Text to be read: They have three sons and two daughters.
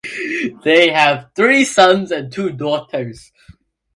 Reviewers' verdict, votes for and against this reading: accepted, 2, 0